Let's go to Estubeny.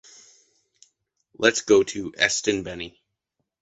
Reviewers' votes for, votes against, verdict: 1, 2, rejected